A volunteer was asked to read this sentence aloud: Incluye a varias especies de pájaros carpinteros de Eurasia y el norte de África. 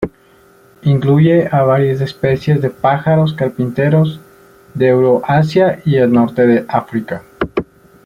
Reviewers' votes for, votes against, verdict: 1, 2, rejected